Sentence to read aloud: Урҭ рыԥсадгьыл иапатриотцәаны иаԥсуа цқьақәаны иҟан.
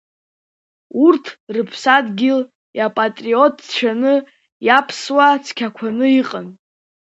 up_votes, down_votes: 2, 0